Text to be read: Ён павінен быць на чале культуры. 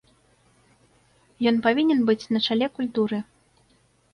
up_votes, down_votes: 3, 0